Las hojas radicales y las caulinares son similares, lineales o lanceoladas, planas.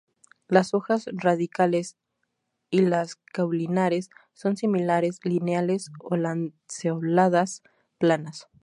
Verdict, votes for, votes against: accepted, 2, 0